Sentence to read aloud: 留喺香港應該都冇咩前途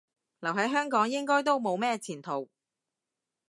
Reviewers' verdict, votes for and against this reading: accepted, 2, 0